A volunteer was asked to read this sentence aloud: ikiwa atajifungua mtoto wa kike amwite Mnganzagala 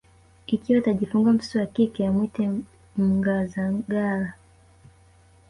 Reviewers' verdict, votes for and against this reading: rejected, 1, 2